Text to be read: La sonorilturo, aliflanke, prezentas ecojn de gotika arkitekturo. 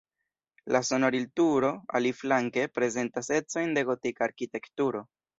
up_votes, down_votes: 0, 2